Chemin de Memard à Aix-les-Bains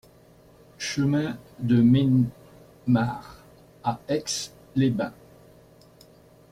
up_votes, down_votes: 0, 2